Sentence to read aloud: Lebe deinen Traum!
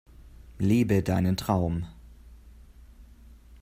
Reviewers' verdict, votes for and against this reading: accepted, 2, 0